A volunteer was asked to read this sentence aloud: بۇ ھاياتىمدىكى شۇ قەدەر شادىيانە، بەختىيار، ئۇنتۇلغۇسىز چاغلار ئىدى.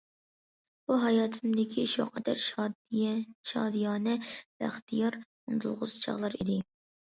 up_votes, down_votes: 0, 2